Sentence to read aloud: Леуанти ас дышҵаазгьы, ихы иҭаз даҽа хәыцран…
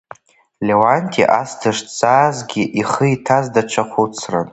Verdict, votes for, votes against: accepted, 3, 0